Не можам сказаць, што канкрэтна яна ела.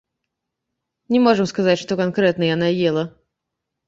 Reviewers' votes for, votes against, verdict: 2, 1, accepted